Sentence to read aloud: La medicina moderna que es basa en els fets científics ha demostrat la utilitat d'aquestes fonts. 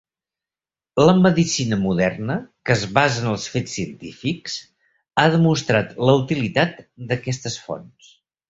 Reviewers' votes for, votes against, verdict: 3, 0, accepted